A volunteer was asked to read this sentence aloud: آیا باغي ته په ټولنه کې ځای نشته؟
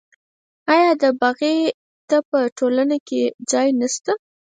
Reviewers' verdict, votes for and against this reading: rejected, 2, 4